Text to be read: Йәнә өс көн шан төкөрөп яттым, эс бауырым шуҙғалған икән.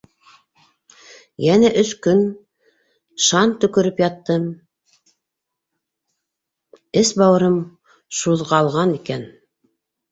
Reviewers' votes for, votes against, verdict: 1, 2, rejected